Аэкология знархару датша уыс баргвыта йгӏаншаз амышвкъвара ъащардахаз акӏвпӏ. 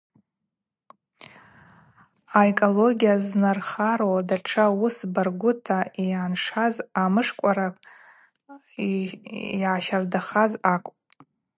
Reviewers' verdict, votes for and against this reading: accepted, 2, 0